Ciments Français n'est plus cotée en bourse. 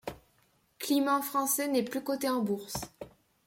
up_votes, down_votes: 0, 2